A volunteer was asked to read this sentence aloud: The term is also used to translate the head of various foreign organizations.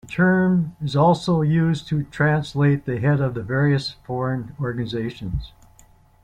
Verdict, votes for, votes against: accepted, 2, 0